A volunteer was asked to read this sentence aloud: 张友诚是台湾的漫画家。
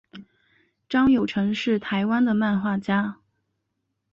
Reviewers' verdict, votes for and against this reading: accepted, 2, 0